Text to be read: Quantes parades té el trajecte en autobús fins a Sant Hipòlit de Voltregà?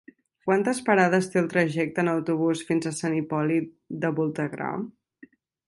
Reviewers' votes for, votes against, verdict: 0, 2, rejected